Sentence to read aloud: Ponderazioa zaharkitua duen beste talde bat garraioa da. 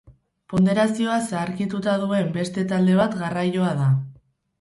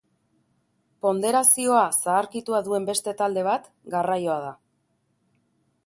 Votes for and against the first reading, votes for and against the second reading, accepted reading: 0, 2, 3, 0, second